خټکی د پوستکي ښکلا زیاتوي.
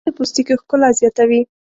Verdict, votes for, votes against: rejected, 0, 2